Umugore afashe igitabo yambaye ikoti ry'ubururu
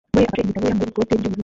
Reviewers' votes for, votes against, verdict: 0, 2, rejected